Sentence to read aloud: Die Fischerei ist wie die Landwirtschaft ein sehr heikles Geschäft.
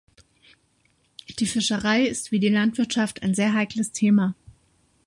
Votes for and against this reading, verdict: 0, 2, rejected